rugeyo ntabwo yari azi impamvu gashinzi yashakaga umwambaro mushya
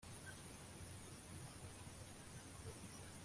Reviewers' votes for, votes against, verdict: 0, 2, rejected